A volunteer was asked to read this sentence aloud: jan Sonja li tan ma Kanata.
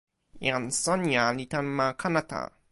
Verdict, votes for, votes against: accepted, 2, 0